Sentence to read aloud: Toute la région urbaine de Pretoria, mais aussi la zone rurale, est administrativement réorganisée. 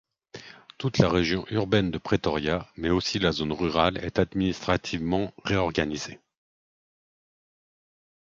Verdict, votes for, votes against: accepted, 2, 0